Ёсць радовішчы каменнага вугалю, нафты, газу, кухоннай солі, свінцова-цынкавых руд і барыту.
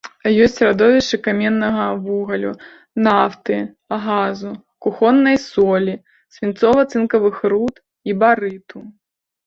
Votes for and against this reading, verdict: 2, 0, accepted